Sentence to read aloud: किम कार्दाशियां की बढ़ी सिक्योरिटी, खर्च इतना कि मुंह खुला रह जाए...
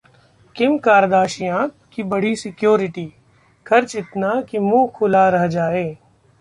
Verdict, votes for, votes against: accepted, 2, 0